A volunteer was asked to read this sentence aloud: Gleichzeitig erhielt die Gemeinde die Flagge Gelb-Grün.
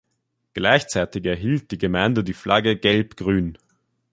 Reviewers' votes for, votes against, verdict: 2, 0, accepted